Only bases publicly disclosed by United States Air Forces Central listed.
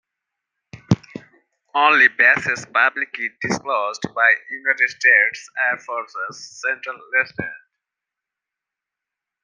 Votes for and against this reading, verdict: 1, 2, rejected